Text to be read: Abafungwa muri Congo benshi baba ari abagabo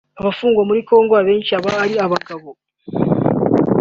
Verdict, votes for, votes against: accepted, 2, 0